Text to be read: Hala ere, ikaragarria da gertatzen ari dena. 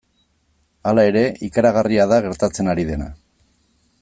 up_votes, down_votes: 2, 0